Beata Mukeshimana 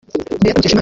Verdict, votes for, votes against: rejected, 1, 2